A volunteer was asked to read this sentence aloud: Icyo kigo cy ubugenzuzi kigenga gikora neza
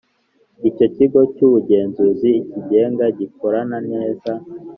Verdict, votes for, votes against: accepted, 2, 0